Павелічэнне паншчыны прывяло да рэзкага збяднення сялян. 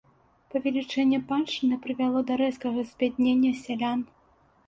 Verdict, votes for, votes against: accepted, 2, 0